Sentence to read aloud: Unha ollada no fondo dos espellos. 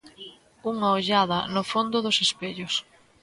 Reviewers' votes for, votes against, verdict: 2, 0, accepted